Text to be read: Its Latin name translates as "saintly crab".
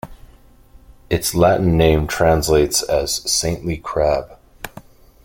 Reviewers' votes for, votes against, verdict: 2, 0, accepted